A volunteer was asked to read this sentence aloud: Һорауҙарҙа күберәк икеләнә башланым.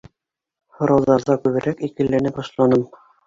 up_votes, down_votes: 2, 0